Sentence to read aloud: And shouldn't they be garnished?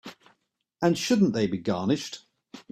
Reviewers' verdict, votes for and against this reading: accepted, 3, 0